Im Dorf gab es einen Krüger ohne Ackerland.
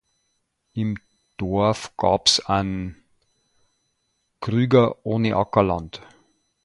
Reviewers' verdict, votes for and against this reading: rejected, 0, 2